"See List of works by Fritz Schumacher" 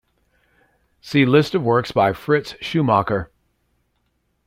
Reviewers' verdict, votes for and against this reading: accepted, 2, 0